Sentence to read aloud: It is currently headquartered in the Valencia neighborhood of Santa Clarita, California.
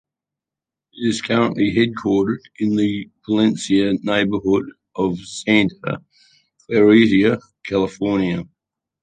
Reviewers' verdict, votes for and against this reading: accepted, 2, 1